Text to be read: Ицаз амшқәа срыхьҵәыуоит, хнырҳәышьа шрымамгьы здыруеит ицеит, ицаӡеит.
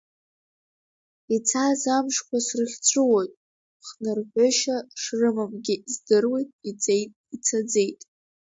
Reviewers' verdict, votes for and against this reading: rejected, 1, 2